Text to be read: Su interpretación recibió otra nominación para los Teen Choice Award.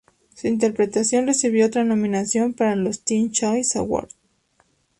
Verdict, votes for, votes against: accepted, 2, 0